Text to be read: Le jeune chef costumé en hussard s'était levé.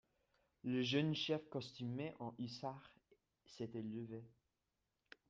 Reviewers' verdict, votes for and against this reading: rejected, 0, 2